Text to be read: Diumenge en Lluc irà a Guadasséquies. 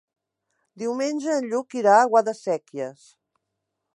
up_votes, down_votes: 3, 0